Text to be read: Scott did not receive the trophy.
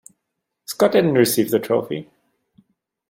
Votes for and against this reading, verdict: 1, 2, rejected